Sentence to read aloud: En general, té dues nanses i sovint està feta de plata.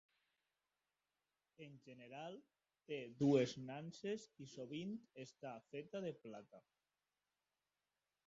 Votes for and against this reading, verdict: 2, 1, accepted